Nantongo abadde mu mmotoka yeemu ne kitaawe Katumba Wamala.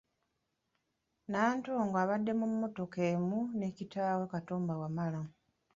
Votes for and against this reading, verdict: 1, 2, rejected